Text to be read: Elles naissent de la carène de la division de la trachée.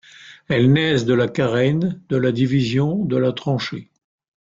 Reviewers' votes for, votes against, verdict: 0, 2, rejected